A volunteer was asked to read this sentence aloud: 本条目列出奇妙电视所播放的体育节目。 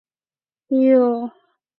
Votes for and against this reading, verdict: 0, 2, rejected